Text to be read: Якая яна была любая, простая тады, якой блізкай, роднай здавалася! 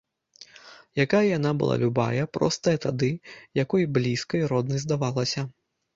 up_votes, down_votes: 1, 2